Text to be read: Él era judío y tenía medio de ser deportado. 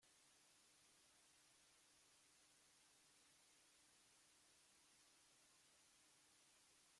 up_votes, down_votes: 0, 2